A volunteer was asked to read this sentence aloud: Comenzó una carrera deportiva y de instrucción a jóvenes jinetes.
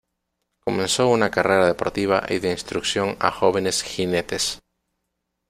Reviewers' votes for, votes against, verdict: 2, 0, accepted